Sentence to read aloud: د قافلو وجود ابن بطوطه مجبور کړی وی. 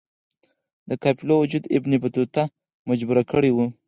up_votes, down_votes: 0, 6